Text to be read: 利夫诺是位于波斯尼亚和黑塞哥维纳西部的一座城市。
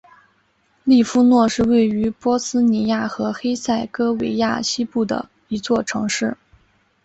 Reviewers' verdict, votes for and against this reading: rejected, 1, 2